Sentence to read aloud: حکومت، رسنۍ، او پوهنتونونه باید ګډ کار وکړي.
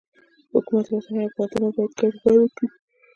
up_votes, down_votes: 1, 2